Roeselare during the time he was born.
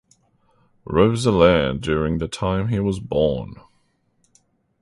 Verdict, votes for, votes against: accepted, 2, 0